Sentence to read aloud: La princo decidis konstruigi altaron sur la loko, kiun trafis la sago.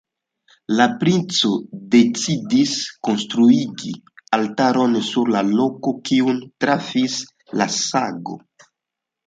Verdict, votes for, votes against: accepted, 2, 0